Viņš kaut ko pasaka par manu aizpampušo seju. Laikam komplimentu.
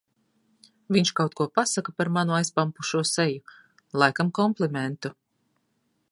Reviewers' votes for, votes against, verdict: 2, 0, accepted